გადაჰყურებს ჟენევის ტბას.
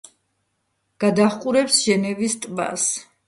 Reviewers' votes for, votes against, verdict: 3, 0, accepted